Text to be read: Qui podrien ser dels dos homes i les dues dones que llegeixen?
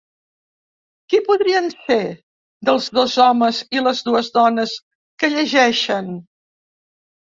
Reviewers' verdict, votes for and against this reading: rejected, 0, 2